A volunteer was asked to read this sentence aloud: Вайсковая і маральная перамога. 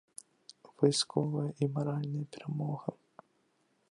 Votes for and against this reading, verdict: 3, 0, accepted